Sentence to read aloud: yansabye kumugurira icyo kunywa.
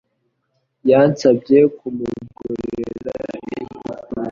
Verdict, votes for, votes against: accepted, 2, 1